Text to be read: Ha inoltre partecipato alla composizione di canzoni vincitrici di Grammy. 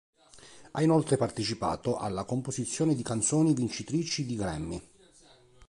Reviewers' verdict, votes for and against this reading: accepted, 2, 0